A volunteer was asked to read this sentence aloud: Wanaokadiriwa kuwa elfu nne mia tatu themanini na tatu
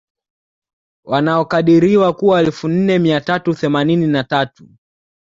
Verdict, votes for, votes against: accepted, 2, 0